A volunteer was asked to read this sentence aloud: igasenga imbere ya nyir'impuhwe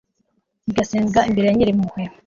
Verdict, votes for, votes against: accepted, 2, 0